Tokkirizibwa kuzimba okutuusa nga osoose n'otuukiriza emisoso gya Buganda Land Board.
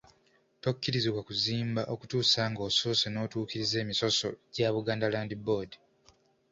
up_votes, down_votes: 2, 0